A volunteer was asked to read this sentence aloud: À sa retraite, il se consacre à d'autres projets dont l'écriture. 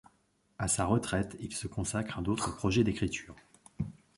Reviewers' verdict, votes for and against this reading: rejected, 0, 2